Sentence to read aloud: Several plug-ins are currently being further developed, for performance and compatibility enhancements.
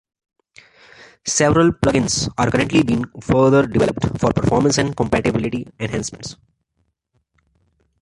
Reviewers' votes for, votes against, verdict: 2, 0, accepted